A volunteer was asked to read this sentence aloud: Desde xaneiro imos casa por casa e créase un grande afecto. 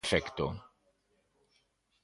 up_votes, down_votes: 0, 2